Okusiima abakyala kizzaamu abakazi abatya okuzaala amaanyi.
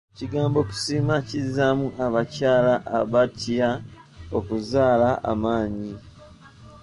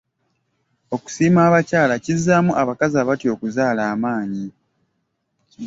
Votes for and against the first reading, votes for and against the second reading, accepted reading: 1, 3, 2, 0, second